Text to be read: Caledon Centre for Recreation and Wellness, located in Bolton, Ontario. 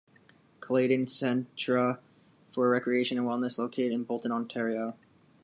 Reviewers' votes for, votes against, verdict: 1, 2, rejected